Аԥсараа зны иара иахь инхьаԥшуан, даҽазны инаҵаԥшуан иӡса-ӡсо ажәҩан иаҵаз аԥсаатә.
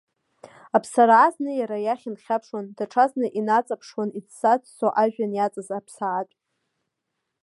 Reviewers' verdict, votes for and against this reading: accepted, 2, 0